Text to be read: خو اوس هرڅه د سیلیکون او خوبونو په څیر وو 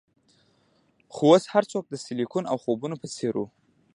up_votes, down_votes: 2, 0